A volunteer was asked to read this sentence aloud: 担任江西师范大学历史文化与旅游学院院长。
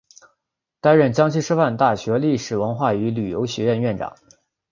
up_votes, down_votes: 2, 0